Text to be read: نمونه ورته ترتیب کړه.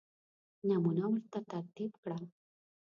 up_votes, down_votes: 2, 0